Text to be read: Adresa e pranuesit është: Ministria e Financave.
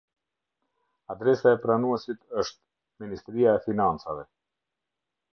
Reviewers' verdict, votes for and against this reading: accepted, 2, 0